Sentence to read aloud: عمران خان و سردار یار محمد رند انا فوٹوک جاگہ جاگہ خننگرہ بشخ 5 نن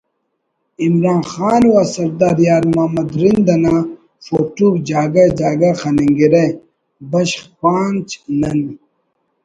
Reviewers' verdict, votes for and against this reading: rejected, 0, 2